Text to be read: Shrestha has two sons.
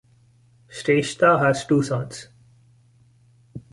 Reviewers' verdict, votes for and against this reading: accepted, 2, 1